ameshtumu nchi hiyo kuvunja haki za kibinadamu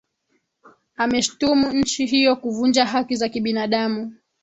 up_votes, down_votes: 2, 0